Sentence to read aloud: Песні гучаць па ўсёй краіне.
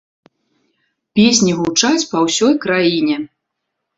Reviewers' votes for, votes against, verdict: 2, 0, accepted